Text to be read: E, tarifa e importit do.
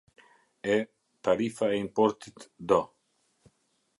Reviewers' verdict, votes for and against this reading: accepted, 2, 0